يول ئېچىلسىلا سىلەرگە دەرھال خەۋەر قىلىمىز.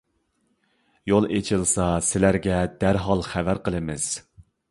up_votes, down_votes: 1, 2